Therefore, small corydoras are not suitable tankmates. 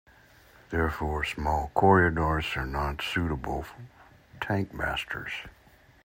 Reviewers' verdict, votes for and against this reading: rejected, 1, 3